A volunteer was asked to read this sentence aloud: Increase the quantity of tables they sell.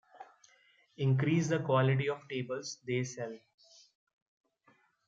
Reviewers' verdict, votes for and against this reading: rejected, 1, 2